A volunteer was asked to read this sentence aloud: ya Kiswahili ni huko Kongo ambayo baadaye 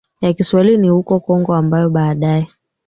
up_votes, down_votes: 2, 1